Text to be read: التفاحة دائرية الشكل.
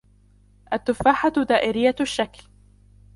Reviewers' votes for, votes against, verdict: 0, 2, rejected